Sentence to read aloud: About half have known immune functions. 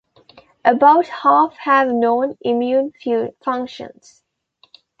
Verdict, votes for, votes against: rejected, 0, 2